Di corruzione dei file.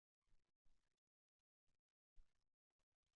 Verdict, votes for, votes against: rejected, 0, 2